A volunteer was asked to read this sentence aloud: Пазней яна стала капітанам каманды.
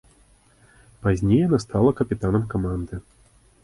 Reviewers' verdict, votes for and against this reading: accepted, 2, 0